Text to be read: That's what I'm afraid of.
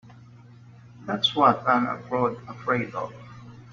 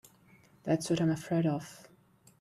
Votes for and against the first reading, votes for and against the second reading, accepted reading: 1, 2, 2, 1, second